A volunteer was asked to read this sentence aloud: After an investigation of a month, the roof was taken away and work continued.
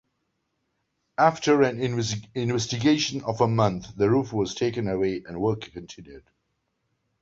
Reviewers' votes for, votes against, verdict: 1, 2, rejected